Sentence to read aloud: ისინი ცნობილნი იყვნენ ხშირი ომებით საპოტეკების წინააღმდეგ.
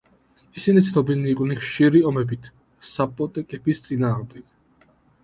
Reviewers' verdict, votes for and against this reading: accepted, 2, 0